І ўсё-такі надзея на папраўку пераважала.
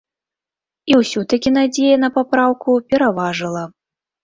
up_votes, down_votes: 1, 3